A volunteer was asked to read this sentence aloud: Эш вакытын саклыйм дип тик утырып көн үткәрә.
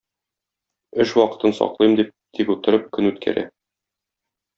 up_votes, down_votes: 2, 0